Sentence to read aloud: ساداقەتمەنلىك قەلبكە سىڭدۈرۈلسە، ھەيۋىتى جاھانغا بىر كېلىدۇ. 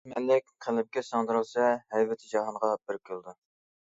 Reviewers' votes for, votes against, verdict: 0, 2, rejected